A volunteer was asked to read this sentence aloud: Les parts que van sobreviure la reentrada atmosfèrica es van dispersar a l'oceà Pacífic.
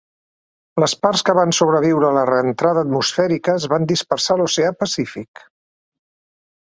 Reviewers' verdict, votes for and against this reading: accepted, 2, 0